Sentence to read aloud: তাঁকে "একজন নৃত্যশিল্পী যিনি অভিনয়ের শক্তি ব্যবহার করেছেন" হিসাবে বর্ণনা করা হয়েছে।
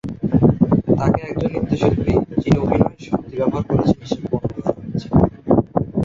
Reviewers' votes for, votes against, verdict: 2, 2, rejected